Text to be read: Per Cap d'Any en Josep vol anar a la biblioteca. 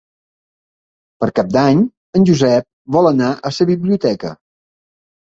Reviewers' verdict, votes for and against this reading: rejected, 0, 2